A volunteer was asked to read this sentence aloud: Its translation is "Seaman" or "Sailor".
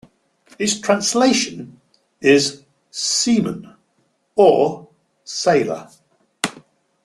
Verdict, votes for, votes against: accepted, 2, 0